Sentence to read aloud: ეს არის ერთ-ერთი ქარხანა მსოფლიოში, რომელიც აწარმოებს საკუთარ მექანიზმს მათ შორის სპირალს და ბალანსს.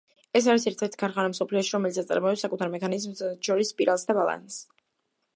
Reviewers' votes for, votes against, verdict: 1, 2, rejected